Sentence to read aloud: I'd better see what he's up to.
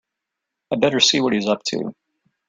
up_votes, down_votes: 2, 0